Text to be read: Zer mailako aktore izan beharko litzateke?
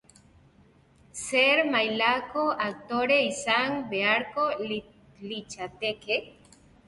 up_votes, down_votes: 3, 2